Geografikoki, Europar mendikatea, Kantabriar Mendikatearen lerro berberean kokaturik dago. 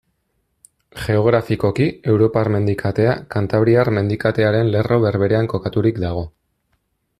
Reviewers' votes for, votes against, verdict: 2, 0, accepted